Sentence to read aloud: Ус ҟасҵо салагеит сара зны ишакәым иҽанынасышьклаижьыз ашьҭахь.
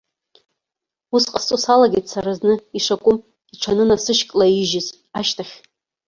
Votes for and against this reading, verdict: 1, 2, rejected